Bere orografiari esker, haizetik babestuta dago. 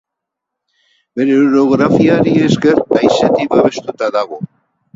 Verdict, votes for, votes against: rejected, 2, 4